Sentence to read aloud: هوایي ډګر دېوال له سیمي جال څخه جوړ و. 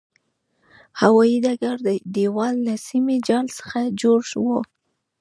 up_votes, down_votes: 0, 2